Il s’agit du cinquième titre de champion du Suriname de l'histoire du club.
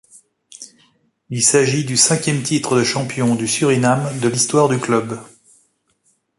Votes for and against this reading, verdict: 2, 0, accepted